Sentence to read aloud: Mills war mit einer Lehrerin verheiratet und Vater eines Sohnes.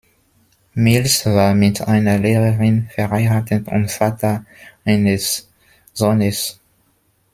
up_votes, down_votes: 2, 0